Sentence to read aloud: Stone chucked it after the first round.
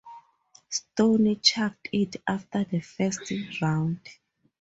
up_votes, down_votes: 2, 0